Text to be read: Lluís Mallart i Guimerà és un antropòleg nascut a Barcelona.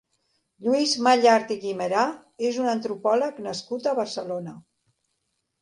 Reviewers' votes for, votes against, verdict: 4, 0, accepted